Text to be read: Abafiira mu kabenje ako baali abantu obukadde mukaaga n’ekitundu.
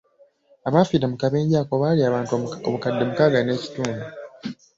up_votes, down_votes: 0, 2